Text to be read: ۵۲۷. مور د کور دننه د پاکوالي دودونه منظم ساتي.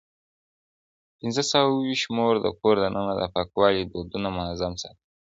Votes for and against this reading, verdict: 0, 2, rejected